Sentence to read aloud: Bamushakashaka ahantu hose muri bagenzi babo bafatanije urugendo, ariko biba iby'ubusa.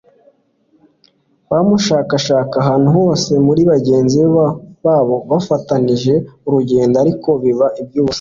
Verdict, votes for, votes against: accepted, 2, 1